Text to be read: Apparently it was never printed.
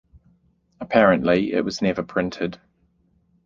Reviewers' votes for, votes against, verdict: 2, 0, accepted